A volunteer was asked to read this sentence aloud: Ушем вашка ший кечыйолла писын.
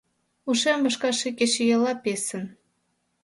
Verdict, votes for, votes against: accepted, 2, 1